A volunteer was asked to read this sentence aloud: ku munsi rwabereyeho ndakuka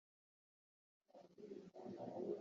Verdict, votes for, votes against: rejected, 0, 2